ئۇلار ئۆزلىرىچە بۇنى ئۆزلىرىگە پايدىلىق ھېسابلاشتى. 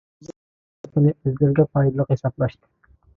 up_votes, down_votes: 0, 2